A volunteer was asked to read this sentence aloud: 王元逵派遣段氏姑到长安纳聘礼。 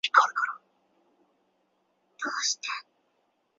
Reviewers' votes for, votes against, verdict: 0, 2, rejected